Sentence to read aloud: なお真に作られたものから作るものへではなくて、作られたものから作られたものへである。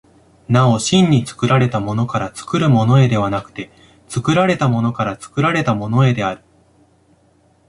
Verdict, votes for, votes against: accepted, 2, 0